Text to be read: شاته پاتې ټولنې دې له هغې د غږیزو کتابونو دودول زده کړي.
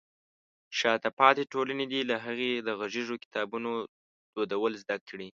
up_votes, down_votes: 3, 1